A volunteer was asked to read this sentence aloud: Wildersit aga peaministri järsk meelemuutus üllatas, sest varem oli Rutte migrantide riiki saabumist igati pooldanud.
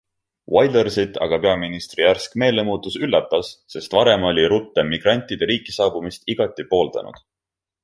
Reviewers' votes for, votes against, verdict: 2, 0, accepted